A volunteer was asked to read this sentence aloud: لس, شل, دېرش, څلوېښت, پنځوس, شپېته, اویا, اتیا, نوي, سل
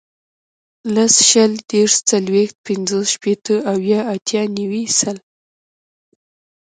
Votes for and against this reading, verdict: 1, 2, rejected